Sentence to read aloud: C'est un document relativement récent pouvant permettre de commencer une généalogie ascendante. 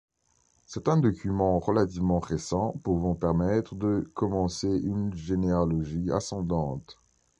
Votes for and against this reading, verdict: 2, 0, accepted